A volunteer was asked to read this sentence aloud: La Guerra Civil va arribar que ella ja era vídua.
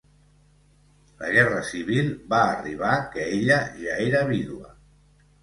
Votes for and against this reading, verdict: 2, 0, accepted